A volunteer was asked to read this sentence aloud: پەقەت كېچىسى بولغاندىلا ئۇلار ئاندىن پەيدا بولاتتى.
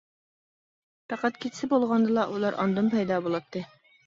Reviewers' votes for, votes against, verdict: 2, 0, accepted